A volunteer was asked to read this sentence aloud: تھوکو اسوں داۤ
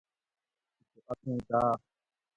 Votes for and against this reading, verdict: 1, 2, rejected